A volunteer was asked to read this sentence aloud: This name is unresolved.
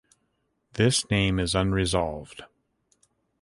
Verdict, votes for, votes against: accepted, 2, 0